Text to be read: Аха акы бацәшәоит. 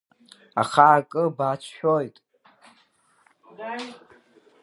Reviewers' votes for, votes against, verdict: 2, 3, rejected